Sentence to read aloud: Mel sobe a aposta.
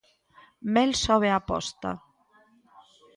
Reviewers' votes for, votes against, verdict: 2, 0, accepted